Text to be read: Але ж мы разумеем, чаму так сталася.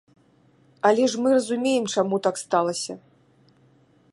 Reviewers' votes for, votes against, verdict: 2, 0, accepted